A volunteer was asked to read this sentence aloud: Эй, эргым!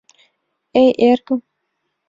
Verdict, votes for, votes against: accepted, 2, 0